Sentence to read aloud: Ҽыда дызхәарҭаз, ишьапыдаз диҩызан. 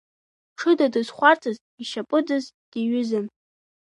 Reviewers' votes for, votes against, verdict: 2, 0, accepted